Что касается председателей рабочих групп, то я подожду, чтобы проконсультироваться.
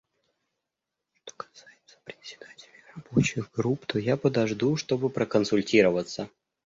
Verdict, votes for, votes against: rejected, 0, 2